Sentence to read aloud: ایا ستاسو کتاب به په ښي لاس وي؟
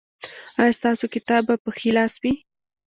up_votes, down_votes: 2, 0